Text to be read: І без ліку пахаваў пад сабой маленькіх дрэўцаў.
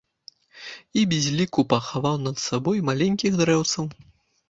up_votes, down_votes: 1, 2